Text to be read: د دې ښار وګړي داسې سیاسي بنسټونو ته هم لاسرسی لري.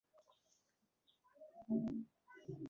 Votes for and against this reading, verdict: 1, 2, rejected